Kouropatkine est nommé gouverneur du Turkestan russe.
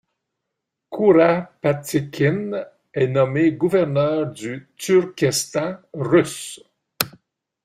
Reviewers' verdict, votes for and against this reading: rejected, 1, 2